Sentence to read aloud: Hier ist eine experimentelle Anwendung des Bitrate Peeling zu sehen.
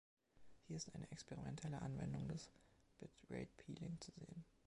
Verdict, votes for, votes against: accepted, 2, 0